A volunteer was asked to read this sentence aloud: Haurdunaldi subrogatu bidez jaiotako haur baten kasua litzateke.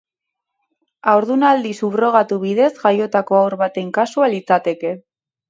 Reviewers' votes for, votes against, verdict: 6, 0, accepted